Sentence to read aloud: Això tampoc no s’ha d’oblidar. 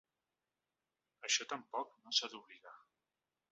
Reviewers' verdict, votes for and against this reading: accepted, 2, 0